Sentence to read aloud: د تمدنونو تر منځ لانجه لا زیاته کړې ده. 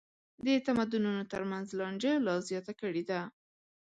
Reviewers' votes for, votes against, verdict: 2, 0, accepted